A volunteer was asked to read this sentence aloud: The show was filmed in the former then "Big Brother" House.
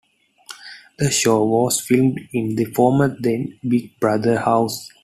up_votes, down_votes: 2, 0